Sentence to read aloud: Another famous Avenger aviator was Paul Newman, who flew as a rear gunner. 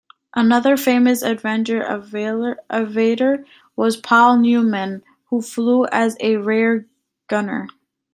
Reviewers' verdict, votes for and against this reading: rejected, 0, 2